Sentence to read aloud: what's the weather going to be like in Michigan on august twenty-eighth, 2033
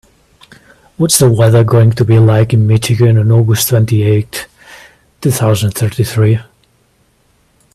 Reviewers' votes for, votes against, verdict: 0, 2, rejected